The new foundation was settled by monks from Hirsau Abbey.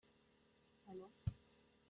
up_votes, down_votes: 0, 2